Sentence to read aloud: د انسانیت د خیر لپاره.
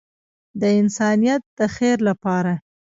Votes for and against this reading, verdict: 0, 2, rejected